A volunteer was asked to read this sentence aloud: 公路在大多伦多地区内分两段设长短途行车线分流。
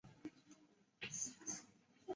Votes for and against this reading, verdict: 0, 3, rejected